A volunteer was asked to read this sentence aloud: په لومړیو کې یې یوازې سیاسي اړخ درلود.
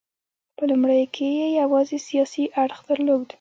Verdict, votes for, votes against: accepted, 2, 1